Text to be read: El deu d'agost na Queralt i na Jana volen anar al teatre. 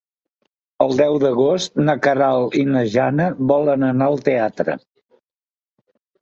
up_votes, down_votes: 3, 0